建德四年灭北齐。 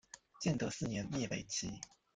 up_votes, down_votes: 2, 0